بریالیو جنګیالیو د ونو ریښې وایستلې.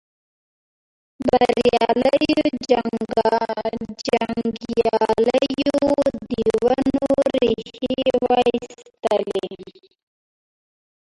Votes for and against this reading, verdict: 0, 2, rejected